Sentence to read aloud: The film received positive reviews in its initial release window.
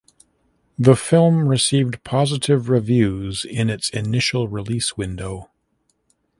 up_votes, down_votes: 2, 0